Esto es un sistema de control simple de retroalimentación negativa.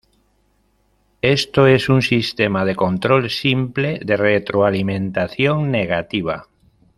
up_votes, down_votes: 1, 2